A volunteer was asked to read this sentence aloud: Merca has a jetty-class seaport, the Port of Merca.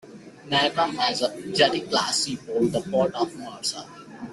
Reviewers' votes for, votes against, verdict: 0, 2, rejected